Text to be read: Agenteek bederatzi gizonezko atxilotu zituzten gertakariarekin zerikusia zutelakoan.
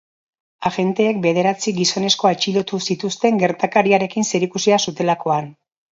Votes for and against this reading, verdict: 2, 0, accepted